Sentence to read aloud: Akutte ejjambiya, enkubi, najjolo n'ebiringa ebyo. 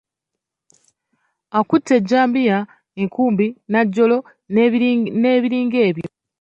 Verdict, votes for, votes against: rejected, 0, 2